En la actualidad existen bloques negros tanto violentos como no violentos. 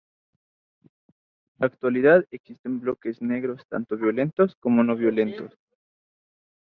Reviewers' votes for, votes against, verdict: 0, 2, rejected